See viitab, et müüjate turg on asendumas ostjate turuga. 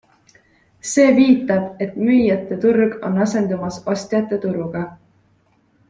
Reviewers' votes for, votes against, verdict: 2, 0, accepted